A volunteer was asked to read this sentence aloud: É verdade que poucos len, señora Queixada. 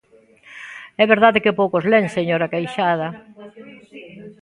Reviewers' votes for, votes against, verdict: 0, 2, rejected